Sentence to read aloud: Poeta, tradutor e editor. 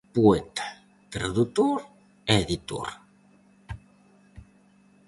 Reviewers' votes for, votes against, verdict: 4, 0, accepted